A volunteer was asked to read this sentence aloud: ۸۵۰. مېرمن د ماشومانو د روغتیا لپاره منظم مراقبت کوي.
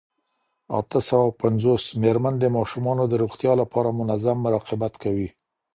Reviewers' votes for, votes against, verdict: 0, 2, rejected